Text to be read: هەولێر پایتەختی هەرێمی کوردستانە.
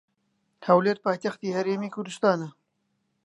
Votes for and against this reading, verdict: 2, 0, accepted